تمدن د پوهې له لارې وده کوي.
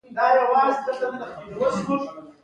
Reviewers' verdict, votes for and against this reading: rejected, 1, 2